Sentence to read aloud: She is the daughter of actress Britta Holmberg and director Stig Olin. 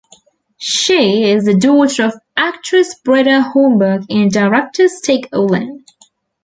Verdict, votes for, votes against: accepted, 2, 0